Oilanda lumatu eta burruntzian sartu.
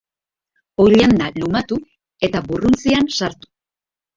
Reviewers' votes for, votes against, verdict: 3, 1, accepted